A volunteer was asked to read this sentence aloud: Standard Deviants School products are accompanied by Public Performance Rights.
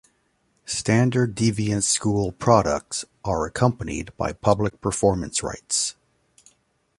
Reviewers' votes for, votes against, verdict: 3, 0, accepted